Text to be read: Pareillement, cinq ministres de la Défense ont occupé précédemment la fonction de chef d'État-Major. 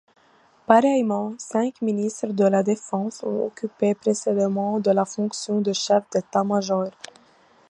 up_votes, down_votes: 0, 2